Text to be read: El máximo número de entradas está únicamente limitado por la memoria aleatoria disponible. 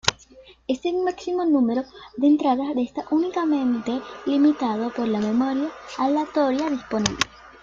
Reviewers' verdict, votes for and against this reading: rejected, 1, 2